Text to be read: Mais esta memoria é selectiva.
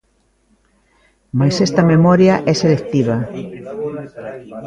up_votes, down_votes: 2, 1